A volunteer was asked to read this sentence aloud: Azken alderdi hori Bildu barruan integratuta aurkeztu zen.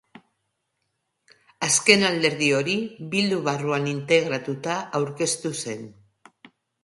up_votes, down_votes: 2, 0